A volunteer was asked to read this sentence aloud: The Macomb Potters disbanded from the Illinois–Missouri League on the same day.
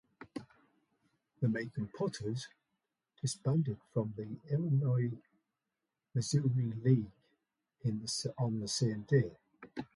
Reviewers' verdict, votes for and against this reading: rejected, 0, 2